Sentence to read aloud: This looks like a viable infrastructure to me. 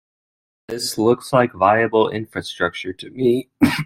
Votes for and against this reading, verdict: 1, 2, rejected